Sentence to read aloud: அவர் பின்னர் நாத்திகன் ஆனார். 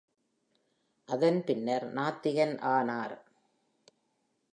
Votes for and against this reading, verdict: 2, 0, accepted